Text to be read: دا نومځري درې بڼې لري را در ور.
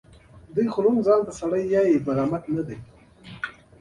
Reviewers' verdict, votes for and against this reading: rejected, 0, 2